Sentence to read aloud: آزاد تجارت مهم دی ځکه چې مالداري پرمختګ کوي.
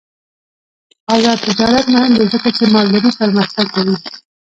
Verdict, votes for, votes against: rejected, 0, 2